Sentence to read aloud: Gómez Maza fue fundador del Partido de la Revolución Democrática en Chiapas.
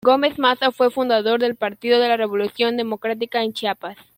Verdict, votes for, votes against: accepted, 2, 0